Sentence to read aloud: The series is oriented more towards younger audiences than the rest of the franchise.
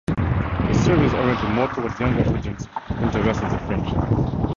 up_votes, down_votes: 0, 4